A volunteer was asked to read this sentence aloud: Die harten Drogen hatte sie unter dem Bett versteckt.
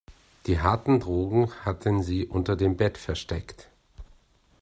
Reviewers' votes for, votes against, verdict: 0, 2, rejected